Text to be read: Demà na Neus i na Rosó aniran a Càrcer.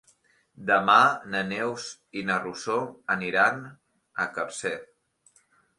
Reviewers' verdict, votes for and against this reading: rejected, 0, 2